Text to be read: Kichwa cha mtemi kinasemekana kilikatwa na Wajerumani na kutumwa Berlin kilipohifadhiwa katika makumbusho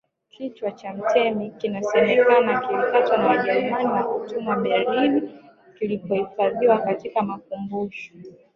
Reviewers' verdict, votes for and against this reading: rejected, 2, 3